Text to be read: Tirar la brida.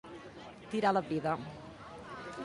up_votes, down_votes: 2, 0